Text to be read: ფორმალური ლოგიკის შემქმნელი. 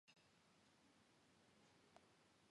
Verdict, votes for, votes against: rejected, 0, 2